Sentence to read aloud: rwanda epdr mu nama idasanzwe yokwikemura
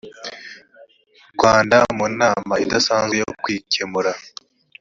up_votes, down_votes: 0, 2